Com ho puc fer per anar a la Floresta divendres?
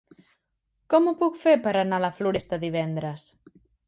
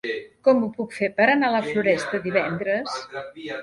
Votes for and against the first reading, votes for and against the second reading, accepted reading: 3, 0, 0, 2, first